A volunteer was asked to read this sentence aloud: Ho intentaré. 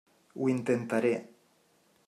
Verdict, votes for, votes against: accepted, 3, 0